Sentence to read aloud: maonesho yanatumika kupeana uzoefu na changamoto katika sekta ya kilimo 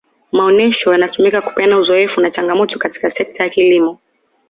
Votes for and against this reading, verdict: 2, 1, accepted